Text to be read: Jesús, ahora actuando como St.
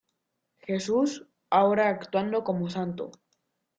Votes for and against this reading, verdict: 0, 2, rejected